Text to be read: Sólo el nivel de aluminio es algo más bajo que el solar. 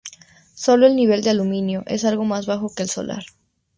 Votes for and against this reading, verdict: 0, 2, rejected